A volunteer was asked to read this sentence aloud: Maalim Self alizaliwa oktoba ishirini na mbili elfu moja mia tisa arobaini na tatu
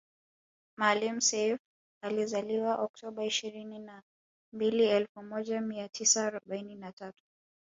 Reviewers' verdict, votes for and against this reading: accepted, 2, 0